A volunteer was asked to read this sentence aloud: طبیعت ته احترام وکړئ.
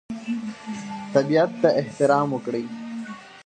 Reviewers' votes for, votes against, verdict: 2, 0, accepted